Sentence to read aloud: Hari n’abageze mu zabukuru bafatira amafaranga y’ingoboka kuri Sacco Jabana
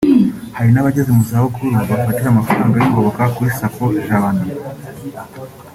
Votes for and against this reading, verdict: 2, 0, accepted